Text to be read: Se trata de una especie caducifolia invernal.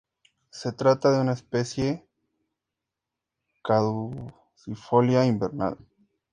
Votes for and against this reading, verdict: 2, 0, accepted